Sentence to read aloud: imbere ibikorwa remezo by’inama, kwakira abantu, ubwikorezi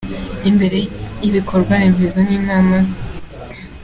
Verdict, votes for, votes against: rejected, 1, 2